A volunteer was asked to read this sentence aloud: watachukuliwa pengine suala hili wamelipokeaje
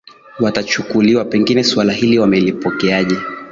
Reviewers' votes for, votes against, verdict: 2, 0, accepted